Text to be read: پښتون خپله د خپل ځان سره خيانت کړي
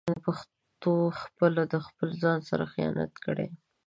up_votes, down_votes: 1, 2